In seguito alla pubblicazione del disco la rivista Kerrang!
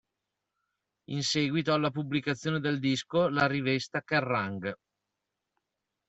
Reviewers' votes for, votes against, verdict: 0, 2, rejected